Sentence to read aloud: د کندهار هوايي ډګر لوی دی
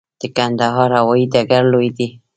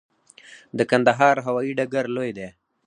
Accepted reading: second